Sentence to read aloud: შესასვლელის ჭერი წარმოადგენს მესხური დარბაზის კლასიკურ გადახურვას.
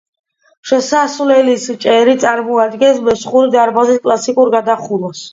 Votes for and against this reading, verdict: 2, 0, accepted